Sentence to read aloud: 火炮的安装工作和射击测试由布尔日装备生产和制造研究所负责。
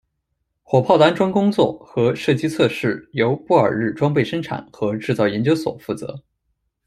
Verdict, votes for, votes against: accepted, 2, 0